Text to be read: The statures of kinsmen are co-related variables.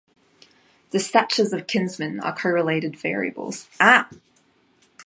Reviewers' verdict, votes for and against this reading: rejected, 1, 2